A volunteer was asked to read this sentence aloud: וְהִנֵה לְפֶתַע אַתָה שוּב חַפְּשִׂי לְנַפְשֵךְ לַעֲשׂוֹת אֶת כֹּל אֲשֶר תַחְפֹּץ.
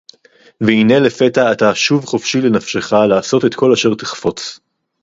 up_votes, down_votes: 2, 2